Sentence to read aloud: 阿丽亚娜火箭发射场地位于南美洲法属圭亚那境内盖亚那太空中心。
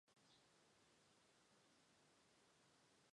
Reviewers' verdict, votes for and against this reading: rejected, 0, 2